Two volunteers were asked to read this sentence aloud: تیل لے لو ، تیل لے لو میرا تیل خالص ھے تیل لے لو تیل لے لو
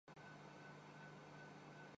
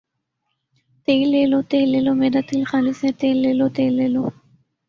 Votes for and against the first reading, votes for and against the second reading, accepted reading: 0, 4, 4, 1, second